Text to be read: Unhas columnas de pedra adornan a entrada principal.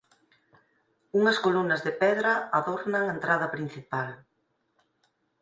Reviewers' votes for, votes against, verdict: 4, 0, accepted